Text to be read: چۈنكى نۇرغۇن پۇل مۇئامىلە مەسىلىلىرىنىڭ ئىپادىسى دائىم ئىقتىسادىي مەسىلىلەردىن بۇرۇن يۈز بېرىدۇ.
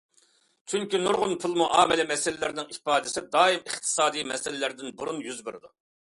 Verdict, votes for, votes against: accepted, 2, 0